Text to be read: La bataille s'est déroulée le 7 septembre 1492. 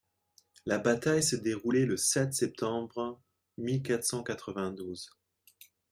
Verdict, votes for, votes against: rejected, 0, 2